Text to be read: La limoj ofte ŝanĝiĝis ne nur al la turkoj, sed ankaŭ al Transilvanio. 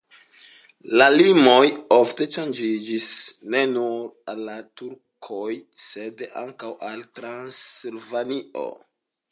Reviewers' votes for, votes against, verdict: 2, 0, accepted